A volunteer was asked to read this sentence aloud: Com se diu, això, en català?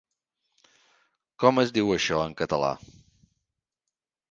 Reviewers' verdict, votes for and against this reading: rejected, 1, 2